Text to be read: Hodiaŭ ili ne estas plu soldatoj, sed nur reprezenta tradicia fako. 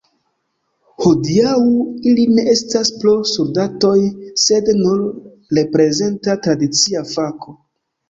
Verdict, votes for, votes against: rejected, 0, 2